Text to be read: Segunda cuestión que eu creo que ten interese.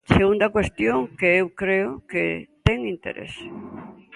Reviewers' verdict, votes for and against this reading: accepted, 2, 0